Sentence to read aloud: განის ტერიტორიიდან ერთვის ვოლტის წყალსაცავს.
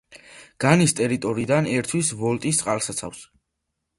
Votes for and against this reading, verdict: 2, 0, accepted